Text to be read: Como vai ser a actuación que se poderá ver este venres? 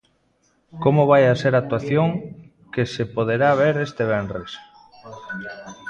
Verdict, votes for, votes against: rejected, 0, 2